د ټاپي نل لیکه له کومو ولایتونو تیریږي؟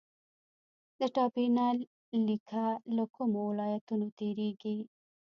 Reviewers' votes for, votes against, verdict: 1, 2, rejected